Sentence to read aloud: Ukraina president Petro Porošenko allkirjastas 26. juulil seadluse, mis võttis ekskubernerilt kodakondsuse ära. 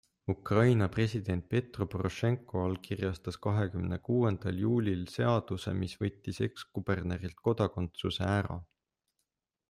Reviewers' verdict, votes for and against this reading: rejected, 0, 2